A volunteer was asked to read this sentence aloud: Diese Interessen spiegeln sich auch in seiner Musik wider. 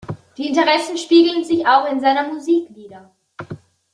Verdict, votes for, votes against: rejected, 0, 2